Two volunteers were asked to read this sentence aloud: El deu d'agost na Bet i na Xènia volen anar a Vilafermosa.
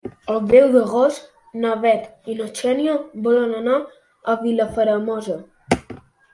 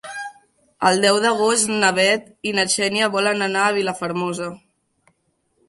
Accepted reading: second